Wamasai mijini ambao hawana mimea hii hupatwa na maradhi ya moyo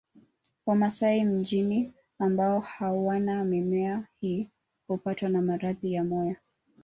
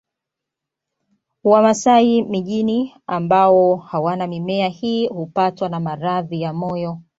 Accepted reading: second